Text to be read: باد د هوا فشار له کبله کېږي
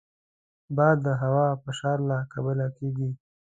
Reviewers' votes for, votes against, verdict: 2, 0, accepted